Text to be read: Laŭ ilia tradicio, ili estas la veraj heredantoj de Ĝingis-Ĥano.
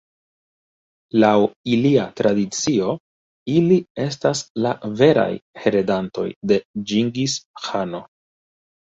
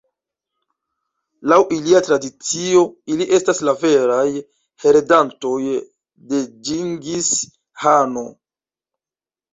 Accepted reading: first